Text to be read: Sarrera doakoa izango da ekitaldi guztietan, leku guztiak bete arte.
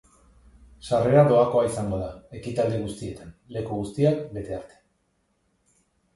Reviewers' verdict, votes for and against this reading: accepted, 2, 0